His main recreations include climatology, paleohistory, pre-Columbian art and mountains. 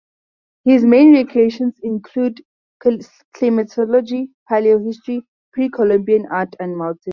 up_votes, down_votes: 0, 2